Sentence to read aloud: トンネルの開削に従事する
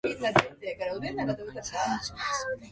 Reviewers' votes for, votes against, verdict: 0, 3, rejected